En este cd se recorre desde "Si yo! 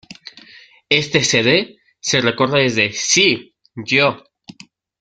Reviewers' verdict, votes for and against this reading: rejected, 0, 2